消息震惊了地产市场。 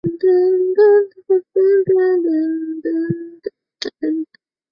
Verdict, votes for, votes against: rejected, 0, 2